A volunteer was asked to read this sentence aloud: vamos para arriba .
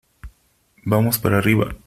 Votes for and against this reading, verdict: 3, 0, accepted